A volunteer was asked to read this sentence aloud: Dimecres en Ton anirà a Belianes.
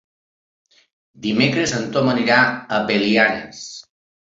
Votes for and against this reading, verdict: 2, 1, accepted